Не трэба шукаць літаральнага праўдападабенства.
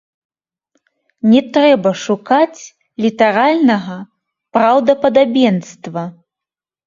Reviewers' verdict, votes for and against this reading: rejected, 0, 2